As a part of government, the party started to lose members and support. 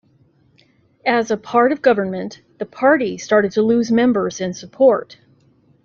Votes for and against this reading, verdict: 2, 0, accepted